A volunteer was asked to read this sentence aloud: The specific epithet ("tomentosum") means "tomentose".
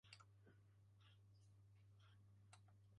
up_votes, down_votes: 0, 2